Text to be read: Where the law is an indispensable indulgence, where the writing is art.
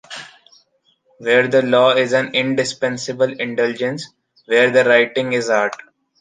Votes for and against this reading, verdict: 2, 0, accepted